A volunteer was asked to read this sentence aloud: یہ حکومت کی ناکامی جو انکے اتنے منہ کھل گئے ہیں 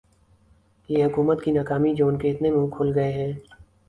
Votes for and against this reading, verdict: 14, 1, accepted